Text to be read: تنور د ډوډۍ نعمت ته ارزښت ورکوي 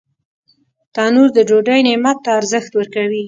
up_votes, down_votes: 2, 0